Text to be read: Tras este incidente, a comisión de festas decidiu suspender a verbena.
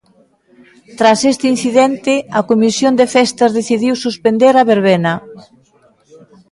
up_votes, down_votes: 2, 0